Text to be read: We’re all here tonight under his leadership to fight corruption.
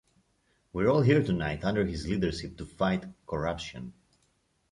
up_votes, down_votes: 1, 2